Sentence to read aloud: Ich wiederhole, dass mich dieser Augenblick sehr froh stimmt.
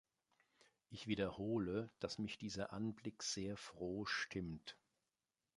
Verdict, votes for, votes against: rejected, 0, 2